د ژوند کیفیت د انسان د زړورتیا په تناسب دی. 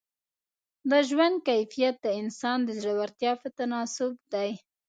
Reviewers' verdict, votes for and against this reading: accepted, 2, 0